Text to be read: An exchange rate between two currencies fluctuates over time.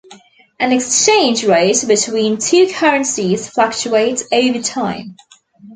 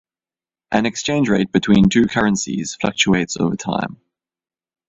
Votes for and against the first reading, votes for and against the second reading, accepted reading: 0, 2, 2, 0, second